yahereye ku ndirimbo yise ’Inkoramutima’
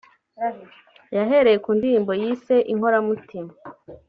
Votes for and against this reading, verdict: 2, 1, accepted